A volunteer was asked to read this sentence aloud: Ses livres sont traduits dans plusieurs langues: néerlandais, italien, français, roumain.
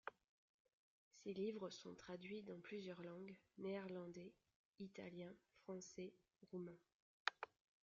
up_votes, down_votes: 1, 2